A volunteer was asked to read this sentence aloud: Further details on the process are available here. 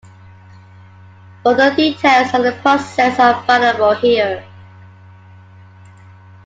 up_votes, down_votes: 2, 0